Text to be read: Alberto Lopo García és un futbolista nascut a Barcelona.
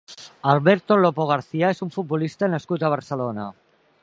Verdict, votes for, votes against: accepted, 3, 0